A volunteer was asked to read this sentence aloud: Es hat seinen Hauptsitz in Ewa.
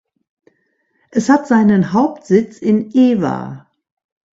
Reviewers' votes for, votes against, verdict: 2, 0, accepted